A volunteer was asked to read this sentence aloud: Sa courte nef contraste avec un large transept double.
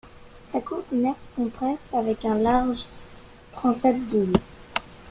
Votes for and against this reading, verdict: 1, 2, rejected